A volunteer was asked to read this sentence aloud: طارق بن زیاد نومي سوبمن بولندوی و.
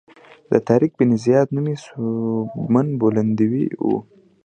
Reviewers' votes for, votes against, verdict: 2, 0, accepted